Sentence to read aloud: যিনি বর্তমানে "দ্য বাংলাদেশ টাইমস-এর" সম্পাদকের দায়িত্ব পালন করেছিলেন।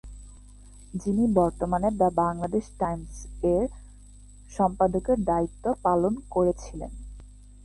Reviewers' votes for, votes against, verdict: 2, 0, accepted